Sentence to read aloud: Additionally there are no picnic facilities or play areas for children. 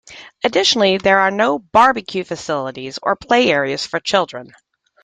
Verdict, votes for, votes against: rejected, 0, 3